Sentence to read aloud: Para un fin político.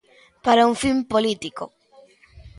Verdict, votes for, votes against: accepted, 2, 0